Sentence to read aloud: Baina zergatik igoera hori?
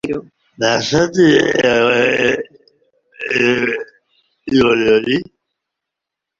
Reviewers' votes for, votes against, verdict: 1, 3, rejected